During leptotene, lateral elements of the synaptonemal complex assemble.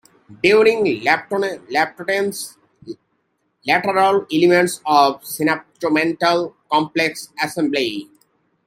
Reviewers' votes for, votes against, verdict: 0, 2, rejected